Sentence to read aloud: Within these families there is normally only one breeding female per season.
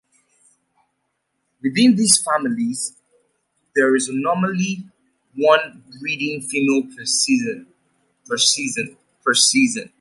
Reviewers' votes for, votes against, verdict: 0, 2, rejected